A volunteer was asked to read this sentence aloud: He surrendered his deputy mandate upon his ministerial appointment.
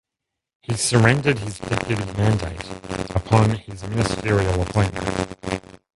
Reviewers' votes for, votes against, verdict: 0, 2, rejected